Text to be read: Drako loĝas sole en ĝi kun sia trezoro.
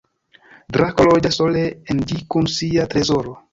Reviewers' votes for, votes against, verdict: 1, 2, rejected